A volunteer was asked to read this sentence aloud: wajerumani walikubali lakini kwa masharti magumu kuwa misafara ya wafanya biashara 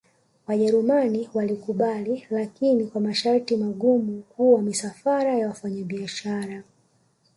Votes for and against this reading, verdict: 3, 0, accepted